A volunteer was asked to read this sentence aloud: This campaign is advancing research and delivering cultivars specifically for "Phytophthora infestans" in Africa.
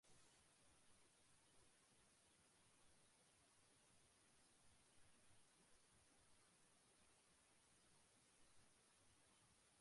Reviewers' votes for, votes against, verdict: 0, 2, rejected